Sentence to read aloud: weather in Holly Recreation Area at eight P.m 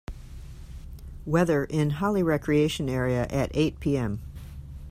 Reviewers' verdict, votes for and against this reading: accepted, 2, 1